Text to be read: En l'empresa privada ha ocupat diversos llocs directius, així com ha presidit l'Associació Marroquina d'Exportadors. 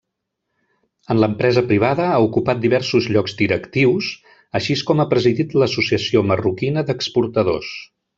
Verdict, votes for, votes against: rejected, 1, 2